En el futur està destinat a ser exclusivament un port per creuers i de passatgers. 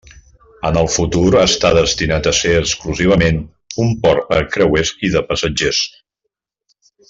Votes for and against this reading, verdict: 2, 0, accepted